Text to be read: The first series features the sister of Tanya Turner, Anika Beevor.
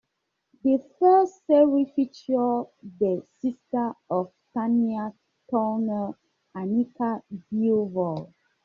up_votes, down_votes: 0, 2